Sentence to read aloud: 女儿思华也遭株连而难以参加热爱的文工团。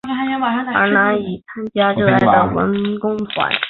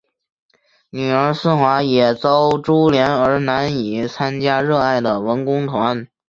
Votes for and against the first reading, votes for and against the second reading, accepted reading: 1, 4, 2, 0, second